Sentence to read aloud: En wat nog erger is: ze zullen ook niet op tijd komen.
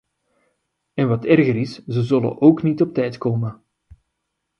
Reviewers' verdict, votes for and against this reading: rejected, 0, 2